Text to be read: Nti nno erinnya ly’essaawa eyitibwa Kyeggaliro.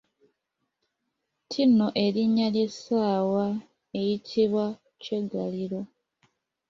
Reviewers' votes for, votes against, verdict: 2, 0, accepted